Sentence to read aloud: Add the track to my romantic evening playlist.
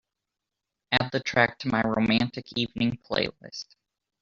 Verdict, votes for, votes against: accepted, 2, 0